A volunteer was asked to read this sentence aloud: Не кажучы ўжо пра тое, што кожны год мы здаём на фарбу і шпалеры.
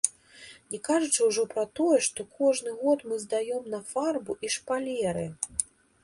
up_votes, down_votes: 2, 0